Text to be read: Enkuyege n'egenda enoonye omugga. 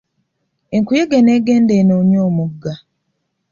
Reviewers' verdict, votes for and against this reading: accepted, 2, 0